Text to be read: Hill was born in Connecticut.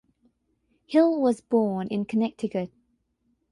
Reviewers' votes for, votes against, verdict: 6, 0, accepted